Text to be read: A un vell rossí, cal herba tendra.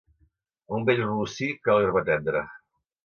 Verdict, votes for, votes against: accepted, 2, 1